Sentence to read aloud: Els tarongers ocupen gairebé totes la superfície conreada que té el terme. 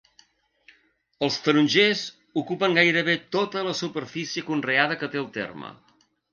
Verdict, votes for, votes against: rejected, 1, 2